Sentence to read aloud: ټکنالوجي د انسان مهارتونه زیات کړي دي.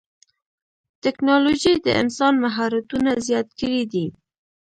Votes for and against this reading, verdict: 0, 2, rejected